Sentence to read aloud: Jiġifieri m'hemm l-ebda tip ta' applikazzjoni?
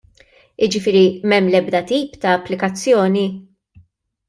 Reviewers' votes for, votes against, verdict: 2, 0, accepted